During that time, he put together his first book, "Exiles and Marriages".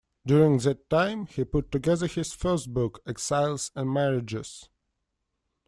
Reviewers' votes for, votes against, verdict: 2, 0, accepted